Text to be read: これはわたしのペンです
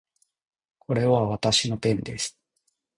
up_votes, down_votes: 2, 0